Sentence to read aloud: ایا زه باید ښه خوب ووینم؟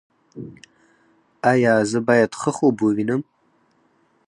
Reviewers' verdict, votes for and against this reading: rejected, 2, 4